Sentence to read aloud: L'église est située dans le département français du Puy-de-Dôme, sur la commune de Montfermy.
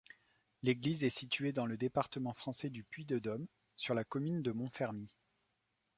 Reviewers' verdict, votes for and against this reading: accepted, 2, 0